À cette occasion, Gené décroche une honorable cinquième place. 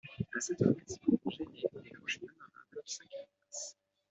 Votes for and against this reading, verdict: 0, 2, rejected